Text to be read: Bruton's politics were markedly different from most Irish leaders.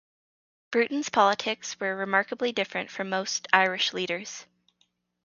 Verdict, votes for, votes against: rejected, 2, 2